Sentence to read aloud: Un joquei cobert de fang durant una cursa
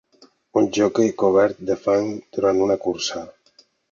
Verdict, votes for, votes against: accepted, 2, 0